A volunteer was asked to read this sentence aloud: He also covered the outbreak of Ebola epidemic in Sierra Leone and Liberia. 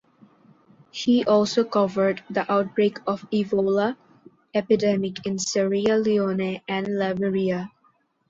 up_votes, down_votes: 2, 0